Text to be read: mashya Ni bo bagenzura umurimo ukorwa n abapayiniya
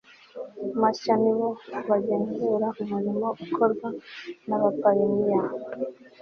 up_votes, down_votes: 2, 0